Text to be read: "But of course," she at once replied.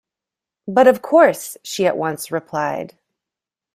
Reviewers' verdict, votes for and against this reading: accepted, 2, 0